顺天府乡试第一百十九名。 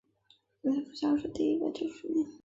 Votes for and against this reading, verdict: 1, 5, rejected